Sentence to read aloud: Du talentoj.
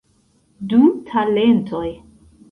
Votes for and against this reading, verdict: 3, 2, accepted